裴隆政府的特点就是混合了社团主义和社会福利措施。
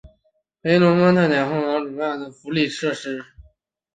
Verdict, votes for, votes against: rejected, 0, 2